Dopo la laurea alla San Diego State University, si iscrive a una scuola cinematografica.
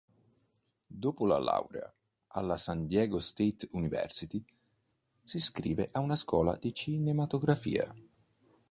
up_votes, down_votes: 1, 2